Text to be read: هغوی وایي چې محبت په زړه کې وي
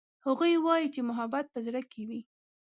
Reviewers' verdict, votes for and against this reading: accepted, 2, 0